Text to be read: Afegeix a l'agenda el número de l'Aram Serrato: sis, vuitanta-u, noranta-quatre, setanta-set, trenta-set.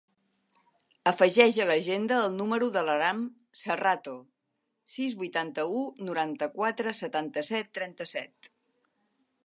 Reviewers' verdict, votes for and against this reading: accepted, 3, 0